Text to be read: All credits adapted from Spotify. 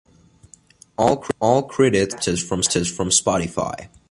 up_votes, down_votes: 0, 2